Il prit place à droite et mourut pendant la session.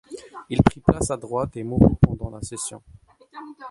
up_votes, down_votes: 1, 2